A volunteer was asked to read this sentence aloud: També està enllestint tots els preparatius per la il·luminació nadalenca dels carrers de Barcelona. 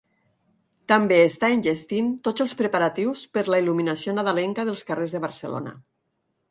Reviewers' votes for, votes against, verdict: 8, 0, accepted